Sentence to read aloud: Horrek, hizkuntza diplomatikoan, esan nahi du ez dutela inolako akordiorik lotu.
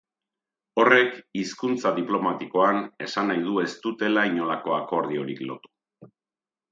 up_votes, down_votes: 2, 0